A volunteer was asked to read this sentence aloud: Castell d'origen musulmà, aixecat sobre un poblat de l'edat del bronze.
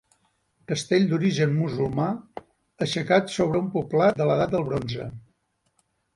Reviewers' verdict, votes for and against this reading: accepted, 3, 0